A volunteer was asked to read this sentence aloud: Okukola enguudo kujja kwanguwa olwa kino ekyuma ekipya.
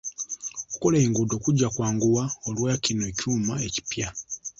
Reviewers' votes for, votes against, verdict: 2, 0, accepted